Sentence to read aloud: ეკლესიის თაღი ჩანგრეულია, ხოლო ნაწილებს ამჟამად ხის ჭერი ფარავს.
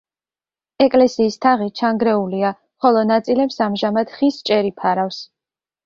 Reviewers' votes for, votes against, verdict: 2, 0, accepted